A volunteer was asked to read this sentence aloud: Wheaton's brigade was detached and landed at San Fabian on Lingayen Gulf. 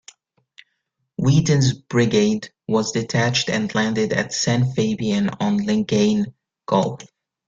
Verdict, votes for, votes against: rejected, 1, 2